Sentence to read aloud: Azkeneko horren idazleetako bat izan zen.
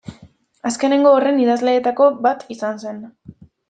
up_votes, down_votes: 0, 2